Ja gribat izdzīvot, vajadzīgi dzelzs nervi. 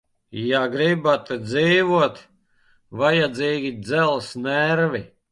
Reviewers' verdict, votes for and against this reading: rejected, 0, 2